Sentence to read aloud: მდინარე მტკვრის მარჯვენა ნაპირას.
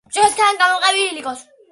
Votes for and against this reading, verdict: 0, 2, rejected